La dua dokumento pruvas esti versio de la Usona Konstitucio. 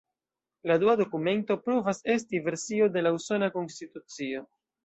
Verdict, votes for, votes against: rejected, 1, 2